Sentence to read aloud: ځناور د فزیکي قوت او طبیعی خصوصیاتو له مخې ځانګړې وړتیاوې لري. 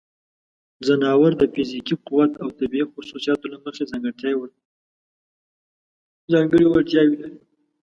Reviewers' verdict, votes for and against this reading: rejected, 1, 2